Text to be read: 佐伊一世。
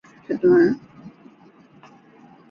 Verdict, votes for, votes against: rejected, 0, 2